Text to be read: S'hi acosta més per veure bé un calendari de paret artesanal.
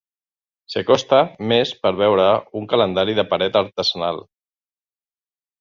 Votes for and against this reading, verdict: 1, 2, rejected